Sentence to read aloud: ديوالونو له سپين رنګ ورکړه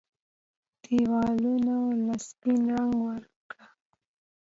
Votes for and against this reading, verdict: 2, 0, accepted